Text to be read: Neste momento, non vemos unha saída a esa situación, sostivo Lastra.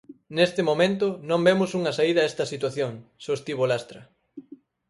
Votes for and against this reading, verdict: 2, 4, rejected